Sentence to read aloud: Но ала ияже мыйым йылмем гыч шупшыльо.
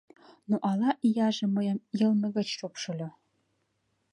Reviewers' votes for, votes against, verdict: 0, 2, rejected